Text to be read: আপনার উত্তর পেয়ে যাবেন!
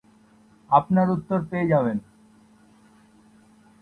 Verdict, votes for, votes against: accepted, 7, 0